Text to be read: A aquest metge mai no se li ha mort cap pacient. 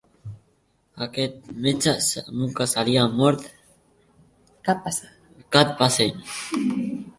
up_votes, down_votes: 1, 5